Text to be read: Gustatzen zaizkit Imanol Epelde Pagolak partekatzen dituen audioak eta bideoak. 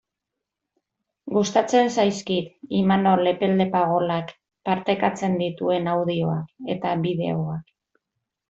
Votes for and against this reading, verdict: 2, 0, accepted